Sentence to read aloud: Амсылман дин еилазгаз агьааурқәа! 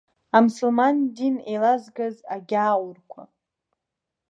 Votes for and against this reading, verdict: 2, 0, accepted